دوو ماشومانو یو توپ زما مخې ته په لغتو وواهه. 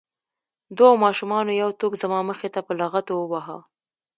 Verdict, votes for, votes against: accepted, 2, 0